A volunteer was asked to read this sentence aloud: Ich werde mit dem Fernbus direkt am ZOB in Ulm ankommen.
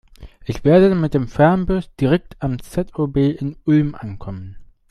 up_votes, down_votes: 2, 0